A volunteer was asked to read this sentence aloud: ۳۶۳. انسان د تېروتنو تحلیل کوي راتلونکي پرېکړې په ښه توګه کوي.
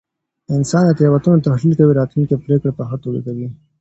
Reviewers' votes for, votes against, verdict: 0, 2, rejected